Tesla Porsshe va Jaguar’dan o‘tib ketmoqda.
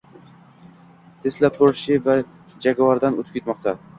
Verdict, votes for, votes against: rejected, 0, 2